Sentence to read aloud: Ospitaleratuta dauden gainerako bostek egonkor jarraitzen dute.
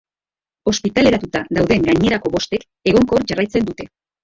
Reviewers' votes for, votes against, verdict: 1, 2, rejected